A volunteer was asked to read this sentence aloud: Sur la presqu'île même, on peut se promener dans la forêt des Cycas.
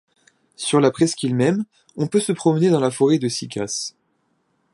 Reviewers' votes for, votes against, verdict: 2, 1, accepted